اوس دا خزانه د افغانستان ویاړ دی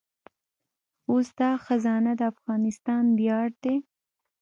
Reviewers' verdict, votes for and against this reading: accepted, 2, 1